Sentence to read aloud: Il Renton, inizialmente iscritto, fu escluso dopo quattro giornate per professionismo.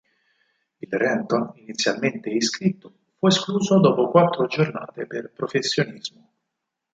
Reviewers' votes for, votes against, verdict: 4, 2, accepted